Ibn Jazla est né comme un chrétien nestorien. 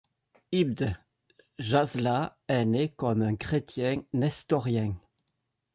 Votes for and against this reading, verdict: 1, 2, rejected